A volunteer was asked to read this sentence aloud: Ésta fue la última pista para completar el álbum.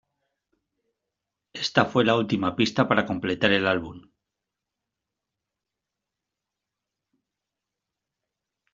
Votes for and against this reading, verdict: 2, 0, accepted